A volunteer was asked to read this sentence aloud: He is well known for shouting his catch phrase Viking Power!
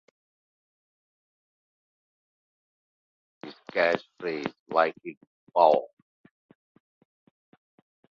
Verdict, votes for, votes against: rejected, 0, 2